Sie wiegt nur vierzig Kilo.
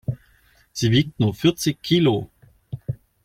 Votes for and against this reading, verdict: 2, 0, accepted